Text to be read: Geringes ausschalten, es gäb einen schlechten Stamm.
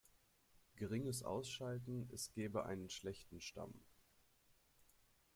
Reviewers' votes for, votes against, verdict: 0, 2, rejected